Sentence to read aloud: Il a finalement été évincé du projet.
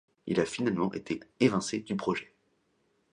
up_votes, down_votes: 2, 0